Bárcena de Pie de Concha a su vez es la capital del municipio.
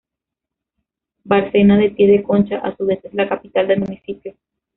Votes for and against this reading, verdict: 2, 1, accepted